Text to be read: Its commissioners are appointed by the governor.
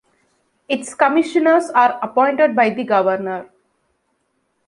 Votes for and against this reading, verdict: 2, 0, accepted